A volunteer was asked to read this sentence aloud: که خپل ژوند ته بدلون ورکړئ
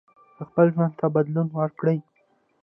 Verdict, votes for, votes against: rejected, 0, 2